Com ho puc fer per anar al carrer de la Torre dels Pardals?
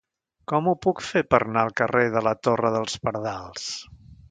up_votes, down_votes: 1, 2